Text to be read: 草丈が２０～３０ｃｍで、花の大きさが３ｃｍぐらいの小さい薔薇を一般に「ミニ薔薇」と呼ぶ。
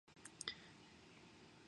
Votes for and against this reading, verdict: 0, 2, rejected